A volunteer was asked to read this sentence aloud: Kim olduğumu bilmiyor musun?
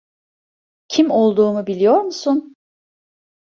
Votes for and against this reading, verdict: 1, 2, rejected